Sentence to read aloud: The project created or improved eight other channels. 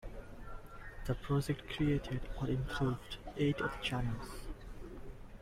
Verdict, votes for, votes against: rejected, 0, 2